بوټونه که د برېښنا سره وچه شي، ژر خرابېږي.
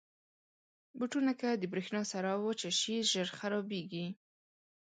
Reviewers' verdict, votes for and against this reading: accepted, 2, 0